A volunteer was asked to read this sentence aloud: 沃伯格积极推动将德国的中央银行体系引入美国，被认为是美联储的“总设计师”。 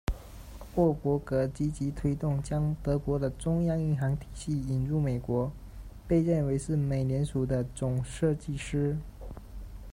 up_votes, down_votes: 2, 0